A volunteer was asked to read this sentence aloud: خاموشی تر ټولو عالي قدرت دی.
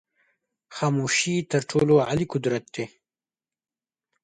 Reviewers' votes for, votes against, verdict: 0, 2, rejected